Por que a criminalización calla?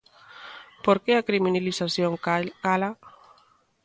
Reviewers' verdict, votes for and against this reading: rejected, 0, 2